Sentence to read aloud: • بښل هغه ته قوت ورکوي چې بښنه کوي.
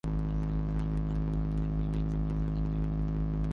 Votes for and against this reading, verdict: 0, 4, rejected